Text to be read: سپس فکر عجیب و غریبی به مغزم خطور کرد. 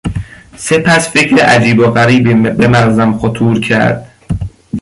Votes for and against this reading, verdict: 0, 2, rejected